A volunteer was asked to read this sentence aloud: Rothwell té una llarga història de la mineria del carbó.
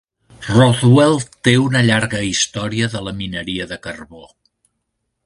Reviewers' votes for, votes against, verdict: 1, 2, rejected